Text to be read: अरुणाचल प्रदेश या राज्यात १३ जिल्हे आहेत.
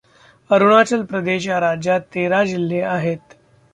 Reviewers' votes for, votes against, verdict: 0, 2, rejected